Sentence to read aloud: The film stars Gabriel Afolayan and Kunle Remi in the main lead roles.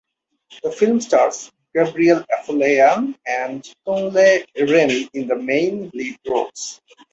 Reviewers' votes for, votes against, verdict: 6, 0, accepted